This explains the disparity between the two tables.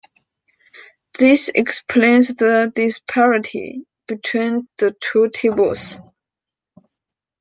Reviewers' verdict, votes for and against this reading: accepted, 2, 0